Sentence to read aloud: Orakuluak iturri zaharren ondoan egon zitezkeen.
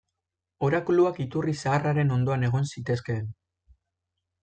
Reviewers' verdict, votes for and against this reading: rejected, 1, 2